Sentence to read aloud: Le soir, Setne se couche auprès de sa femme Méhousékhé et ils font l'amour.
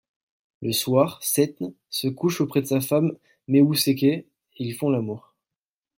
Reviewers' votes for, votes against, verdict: 1, 2, rejected